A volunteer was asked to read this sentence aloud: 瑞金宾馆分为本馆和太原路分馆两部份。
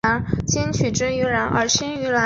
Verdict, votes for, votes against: rejected, 0, 3